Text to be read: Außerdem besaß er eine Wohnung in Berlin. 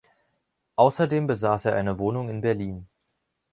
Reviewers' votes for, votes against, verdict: 2, 0, accepted